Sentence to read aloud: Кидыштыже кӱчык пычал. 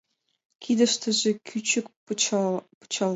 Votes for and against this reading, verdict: 2, 1, accepted